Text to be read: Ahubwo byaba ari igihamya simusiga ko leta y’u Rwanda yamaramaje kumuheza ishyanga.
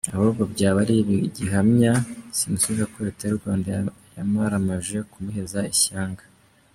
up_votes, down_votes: 1, 2